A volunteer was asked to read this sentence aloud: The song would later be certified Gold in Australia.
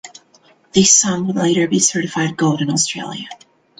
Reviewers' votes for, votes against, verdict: 1, 2, rejected